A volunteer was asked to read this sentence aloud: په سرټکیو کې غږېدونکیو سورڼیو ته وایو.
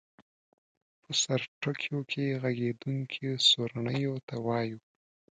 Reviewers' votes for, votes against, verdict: 2, 0, accepted